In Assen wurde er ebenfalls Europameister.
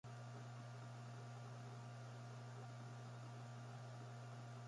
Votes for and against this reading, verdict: 0, 2, rejected